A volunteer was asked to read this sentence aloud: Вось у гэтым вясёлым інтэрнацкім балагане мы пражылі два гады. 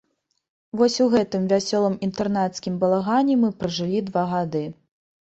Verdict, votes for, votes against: accepted, 2, 0